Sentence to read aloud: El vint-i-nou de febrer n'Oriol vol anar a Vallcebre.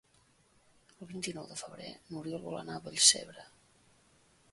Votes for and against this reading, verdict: 2, 1, accepted